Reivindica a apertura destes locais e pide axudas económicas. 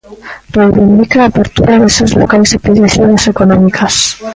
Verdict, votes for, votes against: rejected, 0, 2